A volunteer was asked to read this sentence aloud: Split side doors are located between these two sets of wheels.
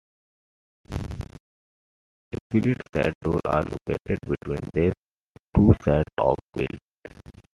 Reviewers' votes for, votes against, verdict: 1, 2, rejected